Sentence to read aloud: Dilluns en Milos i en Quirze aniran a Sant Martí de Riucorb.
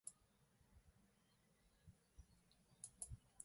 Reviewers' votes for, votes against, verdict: 0, 2, rejected